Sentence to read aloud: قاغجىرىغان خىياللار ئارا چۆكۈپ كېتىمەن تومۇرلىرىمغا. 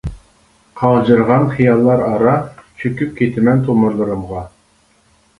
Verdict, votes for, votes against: accepted, 2, 0